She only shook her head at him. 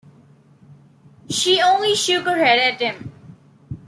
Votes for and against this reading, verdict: 2, 0, accepted